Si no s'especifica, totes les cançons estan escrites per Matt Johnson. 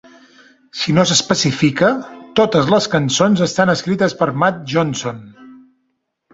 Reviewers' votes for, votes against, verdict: 2, 0, accepted